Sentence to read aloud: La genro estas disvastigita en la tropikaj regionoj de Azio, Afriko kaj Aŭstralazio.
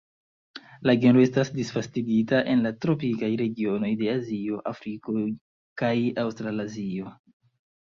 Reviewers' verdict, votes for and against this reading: accepted, 2, 0